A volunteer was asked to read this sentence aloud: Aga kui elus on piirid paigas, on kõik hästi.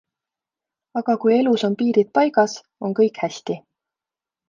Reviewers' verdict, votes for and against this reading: accepted, 2, 0